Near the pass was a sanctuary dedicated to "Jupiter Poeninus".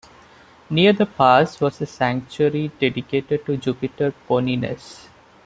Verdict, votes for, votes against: rejected, 1, 2